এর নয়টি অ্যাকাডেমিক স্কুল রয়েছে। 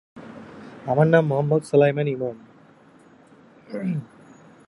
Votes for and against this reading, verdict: 0, 2, rejected